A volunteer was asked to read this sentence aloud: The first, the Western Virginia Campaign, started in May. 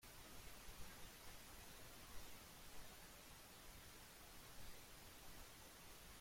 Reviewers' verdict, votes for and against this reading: rejected, 0, 3